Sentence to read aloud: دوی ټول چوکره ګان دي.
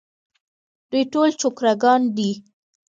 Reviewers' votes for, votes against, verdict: 1, 2, rejected